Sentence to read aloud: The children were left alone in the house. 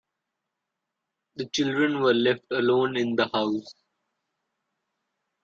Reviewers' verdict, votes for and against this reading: accepted, 2, 0